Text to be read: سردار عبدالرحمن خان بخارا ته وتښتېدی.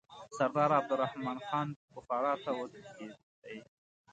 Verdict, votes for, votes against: accepted, 3, 0